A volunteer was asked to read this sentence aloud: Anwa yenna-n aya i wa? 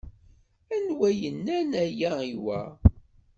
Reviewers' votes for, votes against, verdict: 2, 0, accepted